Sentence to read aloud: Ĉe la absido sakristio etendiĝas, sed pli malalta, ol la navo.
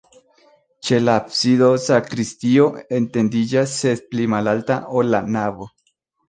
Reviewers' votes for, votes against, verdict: 2, 1, accepted